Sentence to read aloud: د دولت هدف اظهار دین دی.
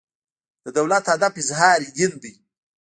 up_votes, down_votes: 1, 2